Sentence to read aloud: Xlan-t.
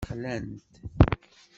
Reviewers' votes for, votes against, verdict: 2, 1, accepted